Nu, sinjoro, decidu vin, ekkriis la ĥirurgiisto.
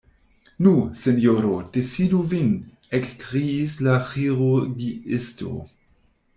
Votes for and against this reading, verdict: 1, 2, rejected